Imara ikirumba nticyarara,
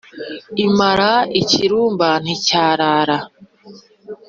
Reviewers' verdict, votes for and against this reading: accepted, 3, 0